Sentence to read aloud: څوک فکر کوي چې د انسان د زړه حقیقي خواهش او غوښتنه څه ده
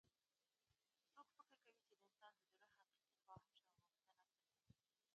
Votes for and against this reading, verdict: 0, 2, rejected